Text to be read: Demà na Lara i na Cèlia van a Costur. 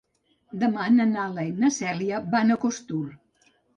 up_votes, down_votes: 0, 2